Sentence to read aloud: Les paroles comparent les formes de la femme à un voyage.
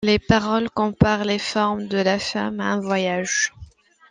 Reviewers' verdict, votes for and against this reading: accepted, 2, 0